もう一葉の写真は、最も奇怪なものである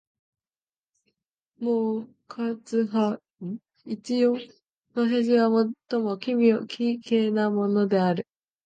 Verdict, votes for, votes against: rejected, 0, 2